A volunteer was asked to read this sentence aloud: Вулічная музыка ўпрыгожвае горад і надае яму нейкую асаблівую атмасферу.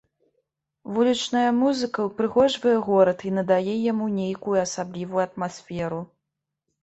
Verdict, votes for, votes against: accepted, 2, 0